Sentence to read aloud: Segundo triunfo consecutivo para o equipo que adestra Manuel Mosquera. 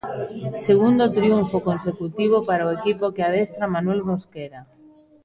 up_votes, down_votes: 2, 0